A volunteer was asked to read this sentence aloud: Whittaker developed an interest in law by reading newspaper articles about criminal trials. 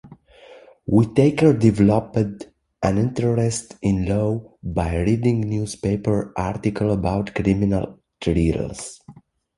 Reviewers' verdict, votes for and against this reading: rejected, 0, 2